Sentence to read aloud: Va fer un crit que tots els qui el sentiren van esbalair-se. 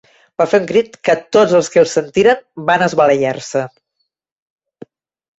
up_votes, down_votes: 0, 2